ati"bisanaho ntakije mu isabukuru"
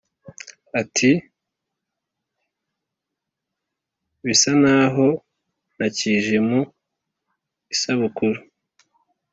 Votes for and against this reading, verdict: 2, 0, accepted